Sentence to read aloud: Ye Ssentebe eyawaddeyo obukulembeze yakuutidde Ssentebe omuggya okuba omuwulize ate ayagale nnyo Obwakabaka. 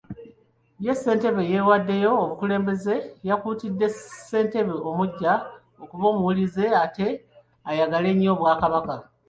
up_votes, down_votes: 2, 0